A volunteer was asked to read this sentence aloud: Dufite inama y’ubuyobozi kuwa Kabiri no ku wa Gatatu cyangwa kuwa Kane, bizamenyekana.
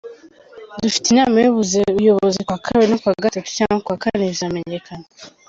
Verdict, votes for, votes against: rejected, 0, 2